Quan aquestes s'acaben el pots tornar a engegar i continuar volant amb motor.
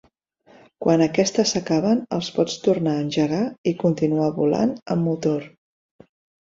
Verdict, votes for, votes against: rejected, 1, 2